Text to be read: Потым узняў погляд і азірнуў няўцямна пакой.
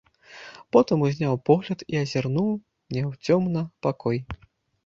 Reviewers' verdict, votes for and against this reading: rejected, 1, 2